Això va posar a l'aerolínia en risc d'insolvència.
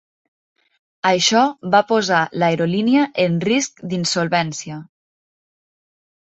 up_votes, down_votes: 1, 2